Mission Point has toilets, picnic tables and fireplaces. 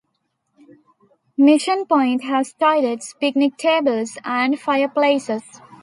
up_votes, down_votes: 2, 0